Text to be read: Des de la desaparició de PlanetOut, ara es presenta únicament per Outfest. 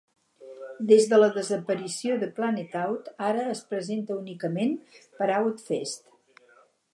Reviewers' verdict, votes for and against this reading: accepted, 4, 0